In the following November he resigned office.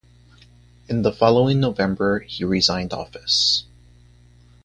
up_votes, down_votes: 2, 0